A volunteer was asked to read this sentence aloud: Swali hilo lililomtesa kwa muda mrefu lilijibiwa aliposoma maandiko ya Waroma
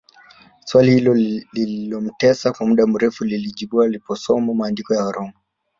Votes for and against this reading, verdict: 3, 1, accepted